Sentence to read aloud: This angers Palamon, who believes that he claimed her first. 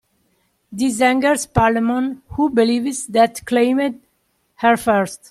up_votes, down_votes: 0, 2